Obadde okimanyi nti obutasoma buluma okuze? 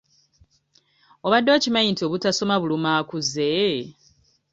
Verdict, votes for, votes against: rejected, 0, 2